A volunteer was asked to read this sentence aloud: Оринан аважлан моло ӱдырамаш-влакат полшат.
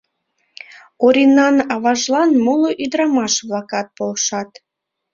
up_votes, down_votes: 4, 0